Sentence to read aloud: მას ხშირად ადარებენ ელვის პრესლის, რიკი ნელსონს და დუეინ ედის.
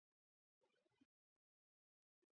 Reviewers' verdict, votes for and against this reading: rejected, 1, 2